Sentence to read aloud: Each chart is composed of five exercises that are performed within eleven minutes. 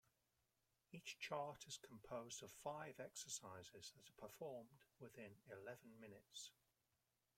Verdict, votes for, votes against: rejected, 1, 2